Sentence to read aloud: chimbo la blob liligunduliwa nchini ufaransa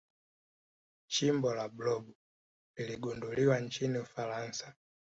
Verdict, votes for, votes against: rejected, 1, 2